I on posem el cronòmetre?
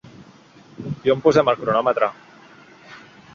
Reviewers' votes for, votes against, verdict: 2, 0, accepted